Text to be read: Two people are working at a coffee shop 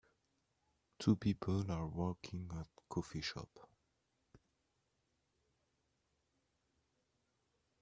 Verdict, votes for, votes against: accepted, 2, 0